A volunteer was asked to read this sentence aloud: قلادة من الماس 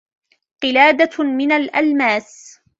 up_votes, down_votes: 1, 2